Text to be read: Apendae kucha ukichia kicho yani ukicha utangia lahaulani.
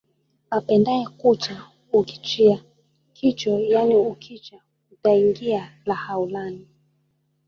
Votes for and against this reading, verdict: 1, 2, rejected